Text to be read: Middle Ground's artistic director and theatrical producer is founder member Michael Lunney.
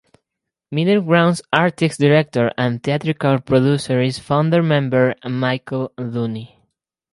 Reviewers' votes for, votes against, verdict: 2, 2, rejected